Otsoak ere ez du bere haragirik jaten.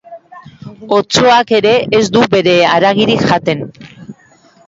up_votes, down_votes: 2, 0